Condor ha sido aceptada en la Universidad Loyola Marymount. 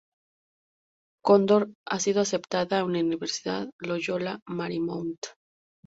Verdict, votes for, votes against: rejected, 0, 2